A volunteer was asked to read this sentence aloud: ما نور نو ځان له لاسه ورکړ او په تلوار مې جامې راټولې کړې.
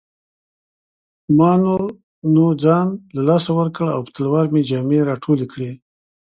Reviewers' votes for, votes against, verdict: 2, 1, accepted